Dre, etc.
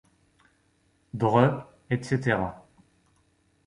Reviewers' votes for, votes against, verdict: 0, 2, rejected